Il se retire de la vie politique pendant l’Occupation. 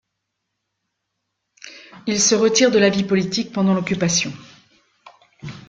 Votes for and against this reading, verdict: 2, 0, accepted